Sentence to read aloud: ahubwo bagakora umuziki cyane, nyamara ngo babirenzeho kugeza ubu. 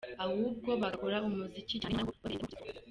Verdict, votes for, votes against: rejected, 1, 2